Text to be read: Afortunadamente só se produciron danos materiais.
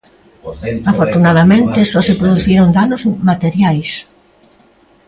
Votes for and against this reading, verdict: 0, 2, rejected